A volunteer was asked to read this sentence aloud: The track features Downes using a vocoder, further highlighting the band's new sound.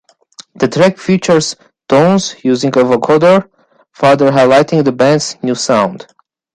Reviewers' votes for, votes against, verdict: 1, 2, rejected